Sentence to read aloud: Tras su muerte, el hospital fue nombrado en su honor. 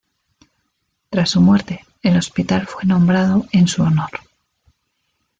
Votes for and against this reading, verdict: 2, 0, accepted